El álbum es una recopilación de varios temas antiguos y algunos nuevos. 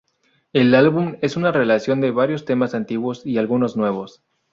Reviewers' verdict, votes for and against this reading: rejected, 0, 2